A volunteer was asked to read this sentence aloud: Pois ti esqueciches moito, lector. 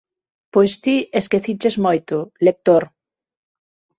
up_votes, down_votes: 6, 0